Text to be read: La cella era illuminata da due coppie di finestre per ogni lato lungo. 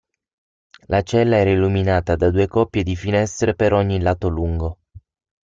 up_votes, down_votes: 6, 0